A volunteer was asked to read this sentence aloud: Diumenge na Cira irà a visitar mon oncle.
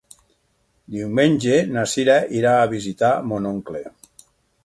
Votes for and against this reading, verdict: 6, 0, accepted